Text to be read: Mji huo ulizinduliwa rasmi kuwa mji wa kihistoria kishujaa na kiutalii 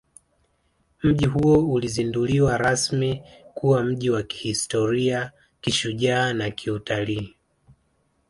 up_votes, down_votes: 1, 2